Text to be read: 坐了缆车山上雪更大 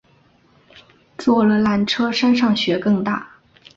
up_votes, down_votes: 2, 0